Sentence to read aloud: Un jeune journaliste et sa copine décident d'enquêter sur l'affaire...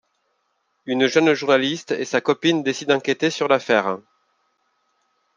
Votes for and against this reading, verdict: 1, 2, rejected